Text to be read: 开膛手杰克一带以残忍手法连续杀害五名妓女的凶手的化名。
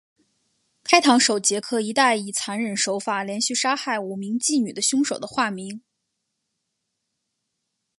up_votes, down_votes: 4, 0